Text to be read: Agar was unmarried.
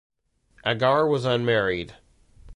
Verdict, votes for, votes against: accepted, 2, 0